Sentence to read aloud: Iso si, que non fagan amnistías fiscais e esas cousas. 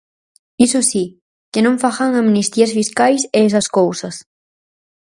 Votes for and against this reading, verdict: 4, 0, accepted